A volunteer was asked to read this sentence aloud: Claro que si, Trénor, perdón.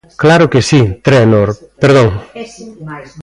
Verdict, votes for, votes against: rejected, 1, 2